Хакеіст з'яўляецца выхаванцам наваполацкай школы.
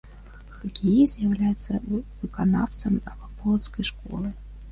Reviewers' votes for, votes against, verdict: 0, 2, rejected